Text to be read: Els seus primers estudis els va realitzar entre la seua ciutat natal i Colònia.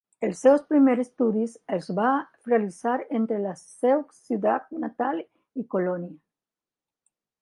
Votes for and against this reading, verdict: 0, 2, rejected